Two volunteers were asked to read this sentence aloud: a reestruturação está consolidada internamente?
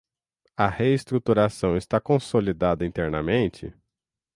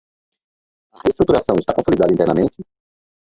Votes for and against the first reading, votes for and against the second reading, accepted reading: 6, 0, 0, 4, first